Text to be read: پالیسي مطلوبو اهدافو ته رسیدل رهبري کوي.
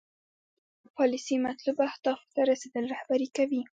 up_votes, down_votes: 2, 0